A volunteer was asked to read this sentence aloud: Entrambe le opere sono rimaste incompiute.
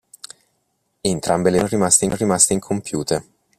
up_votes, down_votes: 0, 2